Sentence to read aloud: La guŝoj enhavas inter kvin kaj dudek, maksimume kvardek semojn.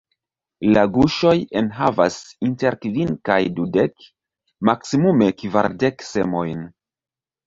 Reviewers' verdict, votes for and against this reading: rejected, 1, 2